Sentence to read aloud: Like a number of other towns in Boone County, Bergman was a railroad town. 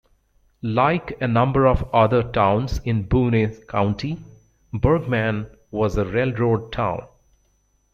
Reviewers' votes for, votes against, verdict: 0, 2, rejected